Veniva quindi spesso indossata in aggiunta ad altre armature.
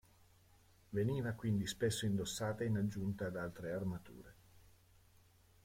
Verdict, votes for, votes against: accepted, 2, 0